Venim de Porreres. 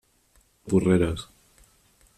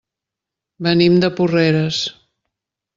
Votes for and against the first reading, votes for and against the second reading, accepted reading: 1, 2, 2, 0, second